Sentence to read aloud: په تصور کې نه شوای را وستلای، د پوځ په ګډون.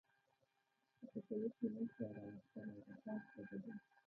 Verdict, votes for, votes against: rejected, 0, 2